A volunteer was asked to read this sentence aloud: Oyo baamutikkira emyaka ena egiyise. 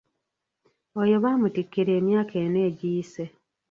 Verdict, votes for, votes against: rejected, 1, 2